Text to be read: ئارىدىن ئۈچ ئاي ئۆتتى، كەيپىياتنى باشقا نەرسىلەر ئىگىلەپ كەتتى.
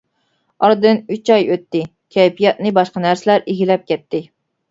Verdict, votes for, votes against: accepted, 2, 0